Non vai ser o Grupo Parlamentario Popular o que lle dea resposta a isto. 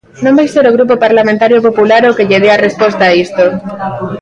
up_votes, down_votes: 2, 0